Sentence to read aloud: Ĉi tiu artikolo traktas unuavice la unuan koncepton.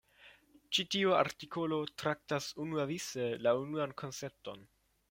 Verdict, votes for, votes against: accepted, 2, 1